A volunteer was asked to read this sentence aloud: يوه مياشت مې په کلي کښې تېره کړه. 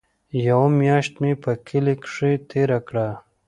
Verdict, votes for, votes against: accepted, 2, 0